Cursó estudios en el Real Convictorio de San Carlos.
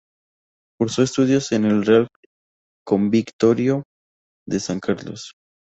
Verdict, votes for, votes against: rejected, 0, 4